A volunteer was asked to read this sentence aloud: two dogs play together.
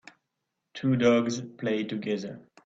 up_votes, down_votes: 4, 0